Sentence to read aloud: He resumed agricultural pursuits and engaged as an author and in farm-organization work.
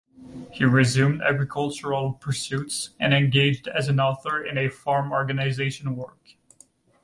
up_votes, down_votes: 1, 2